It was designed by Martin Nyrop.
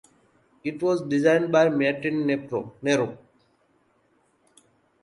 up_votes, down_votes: 0, 2